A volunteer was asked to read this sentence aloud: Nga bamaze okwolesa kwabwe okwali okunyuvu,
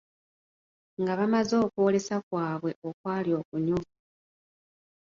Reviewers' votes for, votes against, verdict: 1, 2, rejected